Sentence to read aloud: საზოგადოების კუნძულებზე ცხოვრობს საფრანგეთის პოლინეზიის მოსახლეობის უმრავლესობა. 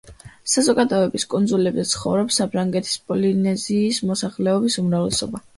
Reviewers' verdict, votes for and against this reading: accepted, 2, 0